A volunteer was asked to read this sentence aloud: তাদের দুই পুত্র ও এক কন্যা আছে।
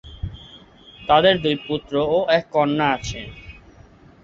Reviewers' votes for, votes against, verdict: 5, 0, accepted